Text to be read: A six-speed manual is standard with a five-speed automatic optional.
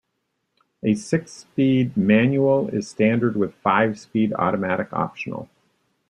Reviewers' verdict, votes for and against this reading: rejected, 0, 2